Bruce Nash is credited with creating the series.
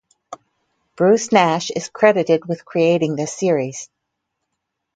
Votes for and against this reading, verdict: 2, 2, rejected